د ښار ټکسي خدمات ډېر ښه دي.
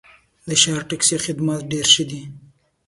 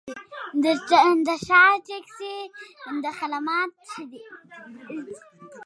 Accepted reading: first